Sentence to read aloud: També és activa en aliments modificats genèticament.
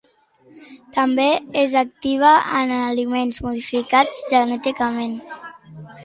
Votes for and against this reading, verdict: 2, 0, accepted